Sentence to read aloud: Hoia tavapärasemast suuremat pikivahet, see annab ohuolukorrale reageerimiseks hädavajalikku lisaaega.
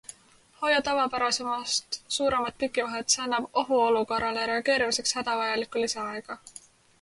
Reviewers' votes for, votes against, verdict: 2, 0, accepted